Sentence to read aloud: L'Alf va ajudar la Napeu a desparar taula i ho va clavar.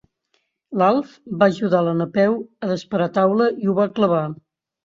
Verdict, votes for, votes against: accepted, 2, 0